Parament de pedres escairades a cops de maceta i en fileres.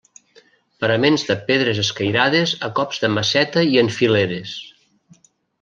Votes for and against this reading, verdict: 0, 2, rejected